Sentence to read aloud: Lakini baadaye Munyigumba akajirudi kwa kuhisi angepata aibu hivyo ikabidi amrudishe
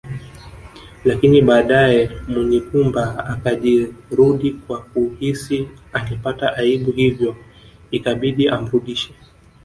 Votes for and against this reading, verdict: 2, 0, accepted